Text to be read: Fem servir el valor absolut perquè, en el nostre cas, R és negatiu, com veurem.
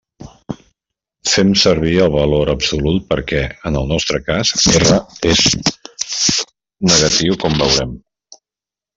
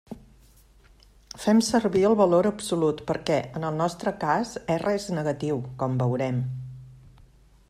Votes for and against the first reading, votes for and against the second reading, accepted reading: 0, 2, 3, 0, second